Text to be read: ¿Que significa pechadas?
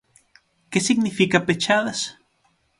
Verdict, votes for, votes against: accepted, 6, 0